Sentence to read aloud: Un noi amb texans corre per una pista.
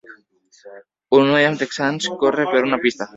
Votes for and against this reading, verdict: 3, 1, accepted